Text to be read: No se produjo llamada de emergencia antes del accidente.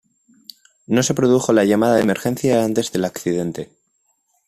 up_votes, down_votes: 2, 0